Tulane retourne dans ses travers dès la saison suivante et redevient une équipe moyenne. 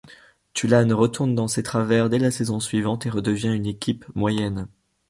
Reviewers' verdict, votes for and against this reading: accepted, 2, 0